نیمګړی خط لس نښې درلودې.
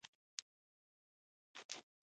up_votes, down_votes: 0, 2